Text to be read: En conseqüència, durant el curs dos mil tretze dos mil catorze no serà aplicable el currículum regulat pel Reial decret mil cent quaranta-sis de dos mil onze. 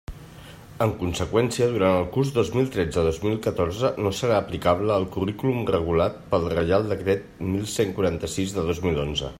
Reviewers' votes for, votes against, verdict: 1, 2, rejected